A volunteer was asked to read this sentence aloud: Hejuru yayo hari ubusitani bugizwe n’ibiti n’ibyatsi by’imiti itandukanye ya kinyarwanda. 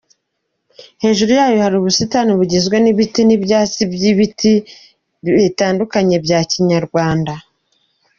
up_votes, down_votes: 0, 2